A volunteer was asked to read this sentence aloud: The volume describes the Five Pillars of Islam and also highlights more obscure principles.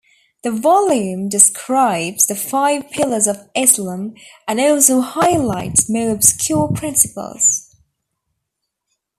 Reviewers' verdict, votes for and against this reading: accepted, 2, 0